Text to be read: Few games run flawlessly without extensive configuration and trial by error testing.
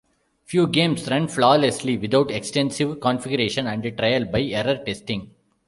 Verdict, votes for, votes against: rejected, 0, 2